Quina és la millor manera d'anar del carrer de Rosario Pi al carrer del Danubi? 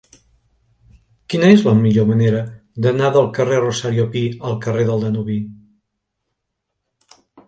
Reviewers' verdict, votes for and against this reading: rejected, 1, 2